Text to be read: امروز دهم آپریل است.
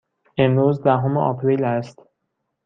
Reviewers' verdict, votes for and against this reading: accepted, 2, 0